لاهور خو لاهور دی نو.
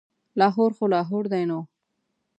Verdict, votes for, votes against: accepted, 2, 0